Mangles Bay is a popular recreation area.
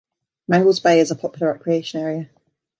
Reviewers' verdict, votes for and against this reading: accepted, 2, 0